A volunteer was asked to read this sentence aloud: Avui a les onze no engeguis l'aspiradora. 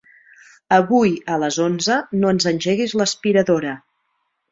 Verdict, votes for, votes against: rejected, 1, 2